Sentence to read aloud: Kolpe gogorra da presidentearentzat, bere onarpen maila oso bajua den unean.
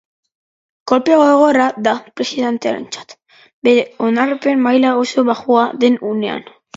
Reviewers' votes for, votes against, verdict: 4, 0, accepted